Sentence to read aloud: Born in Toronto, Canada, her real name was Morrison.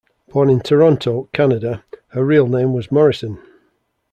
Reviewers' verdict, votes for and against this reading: accepted, 2, 0